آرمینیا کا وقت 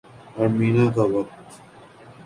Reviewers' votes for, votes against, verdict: 2, 2, rejected